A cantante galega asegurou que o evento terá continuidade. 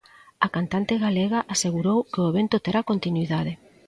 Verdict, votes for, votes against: accepted, 2, 0